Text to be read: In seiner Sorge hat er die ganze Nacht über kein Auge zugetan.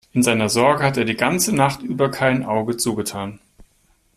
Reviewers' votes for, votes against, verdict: 2, 0, accepted